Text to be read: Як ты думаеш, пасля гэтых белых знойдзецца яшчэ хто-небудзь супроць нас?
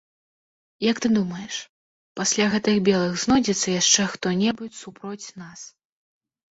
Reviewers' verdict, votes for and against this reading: rejected, 1, 2